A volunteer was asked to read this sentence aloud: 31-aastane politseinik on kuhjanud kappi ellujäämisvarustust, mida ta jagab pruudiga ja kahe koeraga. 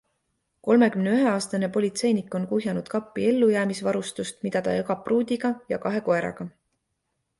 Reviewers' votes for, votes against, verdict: 0, 2, rejected